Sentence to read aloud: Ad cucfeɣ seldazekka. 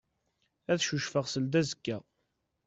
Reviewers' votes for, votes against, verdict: 2, 0, accepted